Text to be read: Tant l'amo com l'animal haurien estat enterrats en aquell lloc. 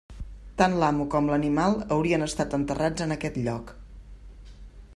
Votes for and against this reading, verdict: 1, 2, rejected